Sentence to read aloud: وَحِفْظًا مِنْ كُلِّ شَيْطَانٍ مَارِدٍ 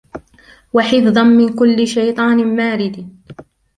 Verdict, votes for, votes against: accepted, 2, 0